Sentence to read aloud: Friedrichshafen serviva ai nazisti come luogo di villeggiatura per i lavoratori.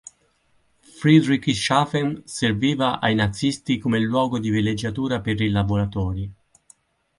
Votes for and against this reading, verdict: 2, 4, rejected